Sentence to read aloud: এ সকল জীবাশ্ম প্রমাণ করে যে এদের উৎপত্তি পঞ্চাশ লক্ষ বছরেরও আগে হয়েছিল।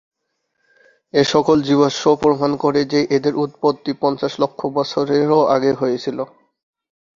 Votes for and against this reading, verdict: 2, 1, accepted